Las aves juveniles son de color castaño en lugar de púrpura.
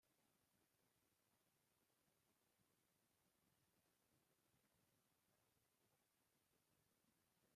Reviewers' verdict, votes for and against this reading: rejected, 0, 2